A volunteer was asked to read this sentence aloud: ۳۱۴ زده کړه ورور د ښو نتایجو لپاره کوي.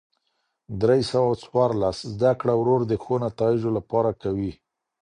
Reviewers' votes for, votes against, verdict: 0, 2, rejected